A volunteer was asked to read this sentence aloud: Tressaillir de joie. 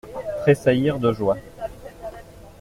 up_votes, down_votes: 2, 0